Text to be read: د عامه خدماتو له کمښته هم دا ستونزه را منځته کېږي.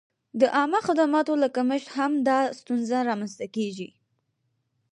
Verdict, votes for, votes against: accepted, 4, 0